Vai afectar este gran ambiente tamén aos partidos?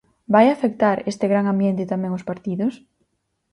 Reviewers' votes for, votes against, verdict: 4, 0, accepted